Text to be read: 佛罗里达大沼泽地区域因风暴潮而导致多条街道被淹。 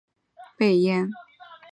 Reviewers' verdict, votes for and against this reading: rejected, 1, 2